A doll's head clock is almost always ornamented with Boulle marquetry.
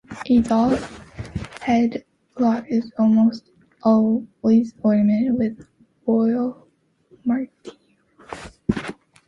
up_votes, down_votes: 0, 2